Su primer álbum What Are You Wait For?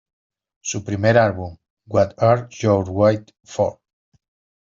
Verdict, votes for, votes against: rejected, 0, 2